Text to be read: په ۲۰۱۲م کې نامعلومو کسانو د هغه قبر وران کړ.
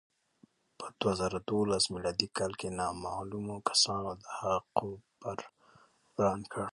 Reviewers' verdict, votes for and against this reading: rejected, 0, 2